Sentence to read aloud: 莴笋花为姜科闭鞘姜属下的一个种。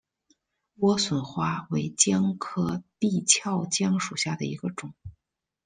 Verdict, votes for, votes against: accepted, 2, 0